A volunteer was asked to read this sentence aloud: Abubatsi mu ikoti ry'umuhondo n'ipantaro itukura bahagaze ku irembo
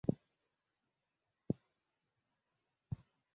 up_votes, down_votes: 0, 3